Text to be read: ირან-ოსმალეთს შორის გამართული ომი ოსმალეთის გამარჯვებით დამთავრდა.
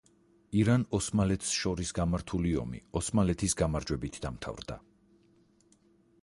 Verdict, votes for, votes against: accepted, 4, 0